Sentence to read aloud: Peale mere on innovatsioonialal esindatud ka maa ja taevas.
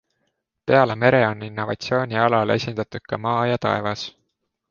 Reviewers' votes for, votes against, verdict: 2, 0, accepted